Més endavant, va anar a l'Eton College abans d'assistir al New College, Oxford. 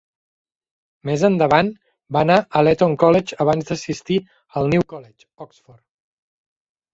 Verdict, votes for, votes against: rejected, 1, 2